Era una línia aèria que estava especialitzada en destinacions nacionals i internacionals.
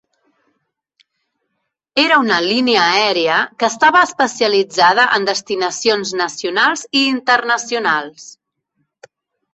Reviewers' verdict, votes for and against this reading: rejected, 0, 2